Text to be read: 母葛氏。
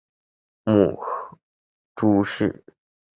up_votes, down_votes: 0, 3